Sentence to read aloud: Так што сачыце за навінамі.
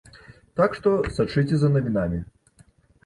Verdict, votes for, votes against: rejected, 1, 2